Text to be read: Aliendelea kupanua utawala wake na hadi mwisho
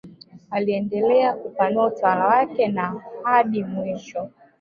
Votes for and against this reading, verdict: 0, 2, rejected